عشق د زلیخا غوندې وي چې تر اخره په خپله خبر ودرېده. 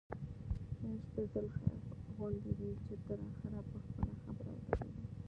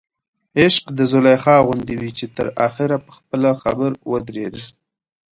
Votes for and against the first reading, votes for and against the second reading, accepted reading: 1, 2, 2, 0, second